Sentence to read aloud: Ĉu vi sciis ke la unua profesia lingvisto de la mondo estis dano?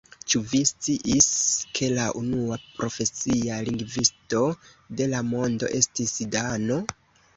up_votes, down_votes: 2, 0